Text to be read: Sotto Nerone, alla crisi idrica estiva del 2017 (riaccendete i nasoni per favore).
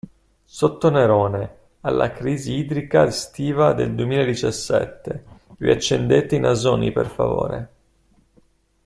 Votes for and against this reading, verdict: 0, 2, rejected